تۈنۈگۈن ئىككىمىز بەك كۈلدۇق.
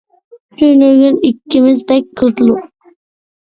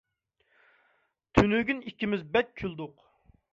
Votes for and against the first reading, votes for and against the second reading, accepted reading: 1, 2, 2, 0, second